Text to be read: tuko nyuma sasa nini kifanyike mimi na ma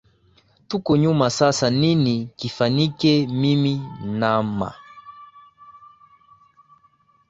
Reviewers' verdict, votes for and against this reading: rejected, 0, 2